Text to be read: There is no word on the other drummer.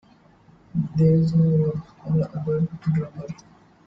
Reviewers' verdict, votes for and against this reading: rejected, 1, 2